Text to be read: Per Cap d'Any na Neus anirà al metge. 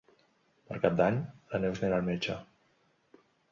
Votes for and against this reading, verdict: 3, 0, accepted